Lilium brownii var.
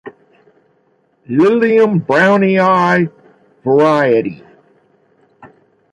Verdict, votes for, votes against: rejected, 3, 6